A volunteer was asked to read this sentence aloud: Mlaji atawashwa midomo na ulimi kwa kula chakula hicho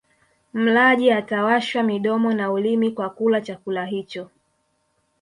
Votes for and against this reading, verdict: 2, 0, accepted